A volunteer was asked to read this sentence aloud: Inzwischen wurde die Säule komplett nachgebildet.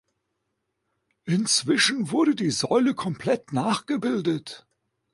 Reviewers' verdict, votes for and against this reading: accepted, 2, 0